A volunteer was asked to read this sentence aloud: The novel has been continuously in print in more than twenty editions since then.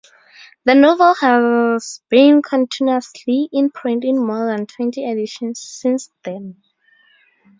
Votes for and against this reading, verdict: 0, 4, rejected